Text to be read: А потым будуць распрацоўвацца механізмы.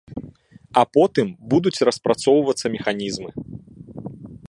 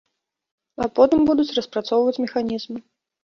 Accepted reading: first